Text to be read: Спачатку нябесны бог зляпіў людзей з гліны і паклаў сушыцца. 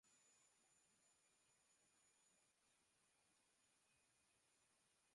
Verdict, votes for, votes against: rejected, 0, 2